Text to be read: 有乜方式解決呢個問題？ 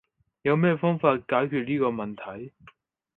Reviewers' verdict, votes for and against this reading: rejected, 2, 4